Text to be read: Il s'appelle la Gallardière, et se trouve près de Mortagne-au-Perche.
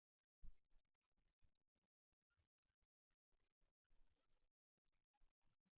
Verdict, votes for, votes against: rejected, 0, 2